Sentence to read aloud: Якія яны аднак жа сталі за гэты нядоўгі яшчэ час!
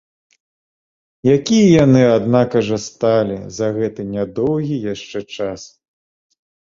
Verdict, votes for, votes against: rejected, 0, 2